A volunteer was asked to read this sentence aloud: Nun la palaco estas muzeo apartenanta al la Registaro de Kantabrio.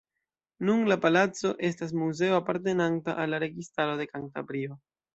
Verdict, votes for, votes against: accepted, 2, 0